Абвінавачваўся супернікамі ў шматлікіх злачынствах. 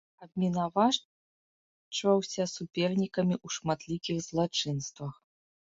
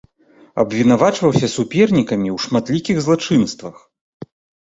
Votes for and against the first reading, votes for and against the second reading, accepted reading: 0, 2, 2, 0, second